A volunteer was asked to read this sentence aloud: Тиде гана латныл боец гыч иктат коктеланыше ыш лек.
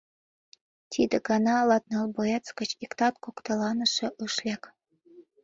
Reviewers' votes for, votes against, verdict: 2, 0, accepted